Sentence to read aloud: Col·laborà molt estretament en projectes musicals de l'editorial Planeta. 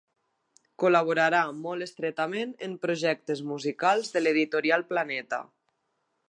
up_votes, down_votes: 0, 2